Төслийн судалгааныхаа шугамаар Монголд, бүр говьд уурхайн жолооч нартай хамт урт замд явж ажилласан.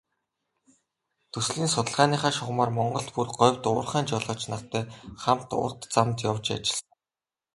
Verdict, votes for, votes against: accepted, 2, 0